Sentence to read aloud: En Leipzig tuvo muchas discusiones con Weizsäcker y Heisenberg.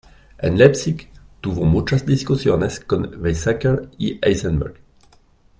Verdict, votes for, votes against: accepted, 2, 0